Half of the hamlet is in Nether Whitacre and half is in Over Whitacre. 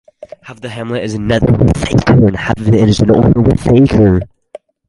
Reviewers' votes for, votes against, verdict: 0, 4, rejected